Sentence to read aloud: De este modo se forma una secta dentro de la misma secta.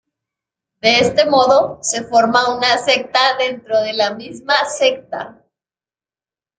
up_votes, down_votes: 2, 1